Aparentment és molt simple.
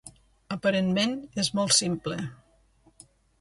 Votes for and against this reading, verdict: 2, 0, accepted